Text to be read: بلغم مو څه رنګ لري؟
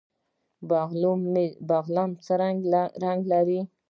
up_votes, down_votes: 1, 2